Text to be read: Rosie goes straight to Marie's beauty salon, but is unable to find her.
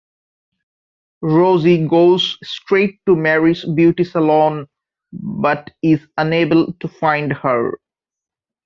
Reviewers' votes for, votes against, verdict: 1, 2, rejected